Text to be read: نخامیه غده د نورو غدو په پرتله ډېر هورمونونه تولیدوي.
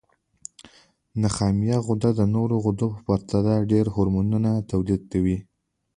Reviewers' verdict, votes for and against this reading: accepted, 2, 0